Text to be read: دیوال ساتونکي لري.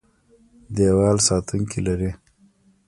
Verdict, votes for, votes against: rejected, 0, 2